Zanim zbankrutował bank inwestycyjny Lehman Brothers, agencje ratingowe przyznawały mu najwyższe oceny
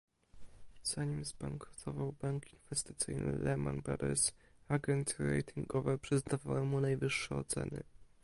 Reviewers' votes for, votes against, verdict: 1, 2, rejected